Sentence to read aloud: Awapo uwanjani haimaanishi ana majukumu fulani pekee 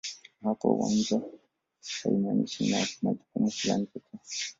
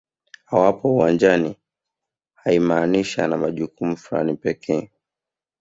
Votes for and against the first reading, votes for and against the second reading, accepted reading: 1, 2, 2, 0, second